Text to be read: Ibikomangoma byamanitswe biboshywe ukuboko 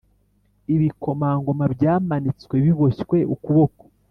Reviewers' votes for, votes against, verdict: 2, 0, accepted